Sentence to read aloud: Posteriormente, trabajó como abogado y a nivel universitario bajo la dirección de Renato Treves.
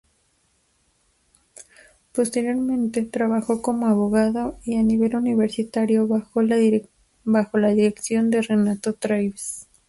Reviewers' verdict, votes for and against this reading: rejected, 0, 2